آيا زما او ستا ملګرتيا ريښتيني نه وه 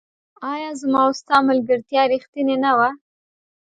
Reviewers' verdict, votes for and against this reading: accepted, 2, 0